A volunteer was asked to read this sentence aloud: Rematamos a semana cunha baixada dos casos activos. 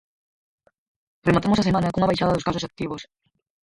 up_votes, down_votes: 0, 4